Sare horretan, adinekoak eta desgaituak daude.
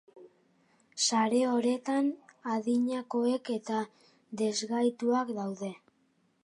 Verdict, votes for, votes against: rejected, 0, 2